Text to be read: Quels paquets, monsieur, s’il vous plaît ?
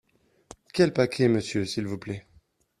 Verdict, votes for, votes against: accepted, 2, 0